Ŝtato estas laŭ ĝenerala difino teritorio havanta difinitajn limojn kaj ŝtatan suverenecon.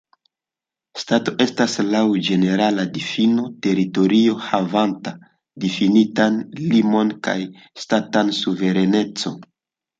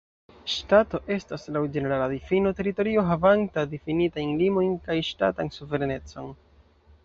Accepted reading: second